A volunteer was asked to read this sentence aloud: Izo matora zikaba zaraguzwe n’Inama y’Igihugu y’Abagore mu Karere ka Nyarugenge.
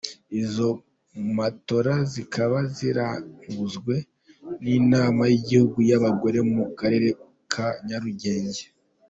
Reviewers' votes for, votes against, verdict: 1, 2, rejected